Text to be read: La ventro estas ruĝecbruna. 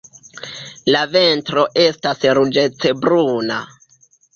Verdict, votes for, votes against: rejected, 0, 2